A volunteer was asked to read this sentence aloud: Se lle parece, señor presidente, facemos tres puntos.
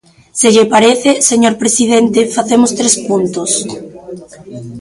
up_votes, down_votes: 1, 2